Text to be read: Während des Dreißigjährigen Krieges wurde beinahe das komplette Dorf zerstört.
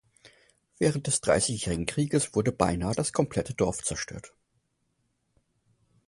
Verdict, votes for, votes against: accepted, 4, 0